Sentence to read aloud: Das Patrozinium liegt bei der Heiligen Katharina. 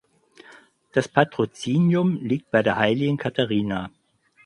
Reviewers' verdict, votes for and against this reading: accepted, 6, 0